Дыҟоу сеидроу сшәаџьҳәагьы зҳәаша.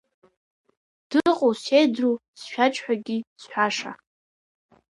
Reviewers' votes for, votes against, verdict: 1, 2, rejected